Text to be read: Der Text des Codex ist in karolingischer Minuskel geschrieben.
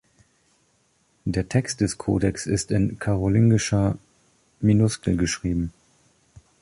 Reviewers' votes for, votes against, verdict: 3, 0, accepted